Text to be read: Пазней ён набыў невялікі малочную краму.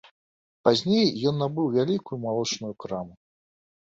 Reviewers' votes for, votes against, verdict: 1, 2, rejected